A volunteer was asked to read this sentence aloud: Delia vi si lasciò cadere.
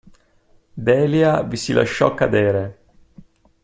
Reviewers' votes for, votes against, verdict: 2, 0, accepted